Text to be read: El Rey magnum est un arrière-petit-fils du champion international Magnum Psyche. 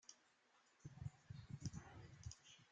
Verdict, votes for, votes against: rejected, 0, 2